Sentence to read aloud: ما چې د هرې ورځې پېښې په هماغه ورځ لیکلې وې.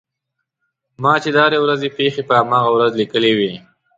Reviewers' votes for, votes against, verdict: 2, 0, accepted